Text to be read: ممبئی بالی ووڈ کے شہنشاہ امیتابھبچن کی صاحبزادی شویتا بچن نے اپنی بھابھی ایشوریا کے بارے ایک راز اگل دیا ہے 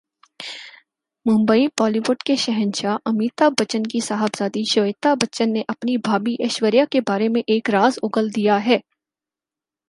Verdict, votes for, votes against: accepted, 4, 2